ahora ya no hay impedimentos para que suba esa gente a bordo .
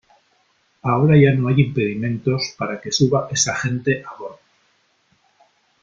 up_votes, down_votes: 2, 0